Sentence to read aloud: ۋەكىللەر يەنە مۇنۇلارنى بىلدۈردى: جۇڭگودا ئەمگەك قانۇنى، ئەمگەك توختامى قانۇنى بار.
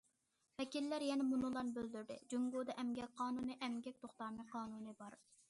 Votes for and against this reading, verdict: 2, 0, accepted